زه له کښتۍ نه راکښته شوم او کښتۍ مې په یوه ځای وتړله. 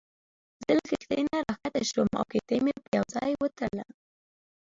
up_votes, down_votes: 0, 2